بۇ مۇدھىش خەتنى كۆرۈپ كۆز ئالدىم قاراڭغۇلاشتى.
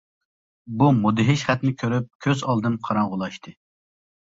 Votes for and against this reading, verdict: 3, 0, accepted